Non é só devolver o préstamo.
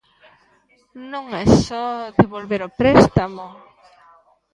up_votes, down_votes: 1, 2